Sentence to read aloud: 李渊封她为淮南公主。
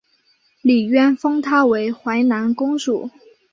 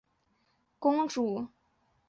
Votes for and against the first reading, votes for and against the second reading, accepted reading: 2, 1, 0, 5, first